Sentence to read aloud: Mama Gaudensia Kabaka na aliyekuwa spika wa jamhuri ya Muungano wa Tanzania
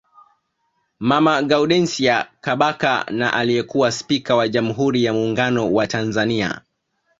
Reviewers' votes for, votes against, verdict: 2, 0, accepted